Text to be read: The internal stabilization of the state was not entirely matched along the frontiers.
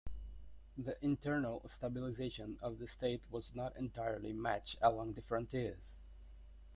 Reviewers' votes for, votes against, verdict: 0, 2, rejected